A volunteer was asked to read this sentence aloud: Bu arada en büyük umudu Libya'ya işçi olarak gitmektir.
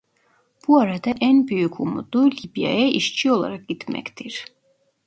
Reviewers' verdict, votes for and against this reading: accepted, 2, 0